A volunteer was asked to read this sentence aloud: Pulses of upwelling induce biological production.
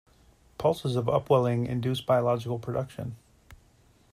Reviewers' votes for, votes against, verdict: 2, 0, accepted